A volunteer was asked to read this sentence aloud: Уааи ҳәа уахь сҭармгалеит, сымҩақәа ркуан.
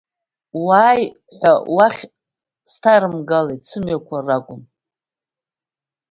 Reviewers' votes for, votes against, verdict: 1, 2, rejected